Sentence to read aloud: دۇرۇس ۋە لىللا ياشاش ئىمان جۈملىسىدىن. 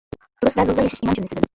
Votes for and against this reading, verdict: 0, 2, rejected